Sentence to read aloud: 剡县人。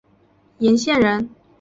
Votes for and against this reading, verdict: 3, 1, accepted